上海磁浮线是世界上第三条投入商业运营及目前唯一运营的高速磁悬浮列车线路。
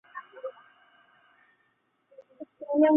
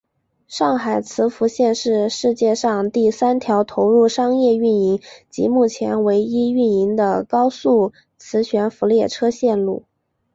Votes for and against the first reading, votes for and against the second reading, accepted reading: 0, 2, 2, 1, second